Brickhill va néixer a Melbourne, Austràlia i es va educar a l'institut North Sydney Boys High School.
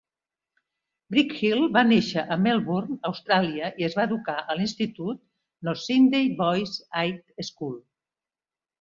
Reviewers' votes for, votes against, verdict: 2, 0, accepted